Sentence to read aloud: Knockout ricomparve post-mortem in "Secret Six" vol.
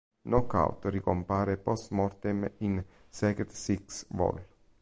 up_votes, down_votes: 1, 3